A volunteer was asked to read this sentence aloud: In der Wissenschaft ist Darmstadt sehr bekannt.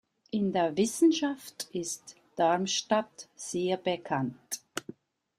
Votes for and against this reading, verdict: 2, 0, accepted